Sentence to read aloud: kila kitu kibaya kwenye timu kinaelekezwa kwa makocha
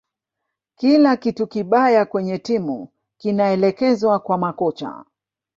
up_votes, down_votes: 0, 2